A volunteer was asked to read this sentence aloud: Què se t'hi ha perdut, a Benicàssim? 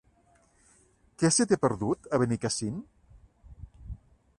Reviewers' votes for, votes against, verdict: 1, 2, rejected